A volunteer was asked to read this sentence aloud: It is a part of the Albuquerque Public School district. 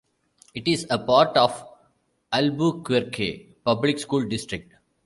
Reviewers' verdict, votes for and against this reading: rejected, 1, 2